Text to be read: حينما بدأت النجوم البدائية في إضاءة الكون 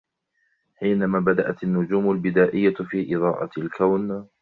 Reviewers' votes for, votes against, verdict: 0, 2, rejected